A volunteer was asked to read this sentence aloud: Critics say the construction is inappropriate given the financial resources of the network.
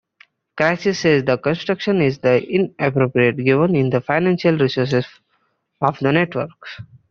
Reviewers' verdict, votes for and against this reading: rejected, 0, 2